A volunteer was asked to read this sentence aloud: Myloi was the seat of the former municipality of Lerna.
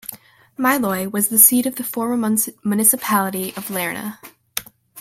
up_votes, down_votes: 1, 2